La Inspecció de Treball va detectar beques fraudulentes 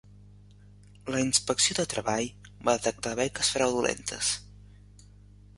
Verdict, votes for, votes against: rejected, 1, 2